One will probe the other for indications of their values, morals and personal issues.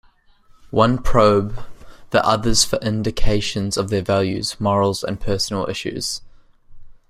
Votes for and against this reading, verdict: 1, 2, rejected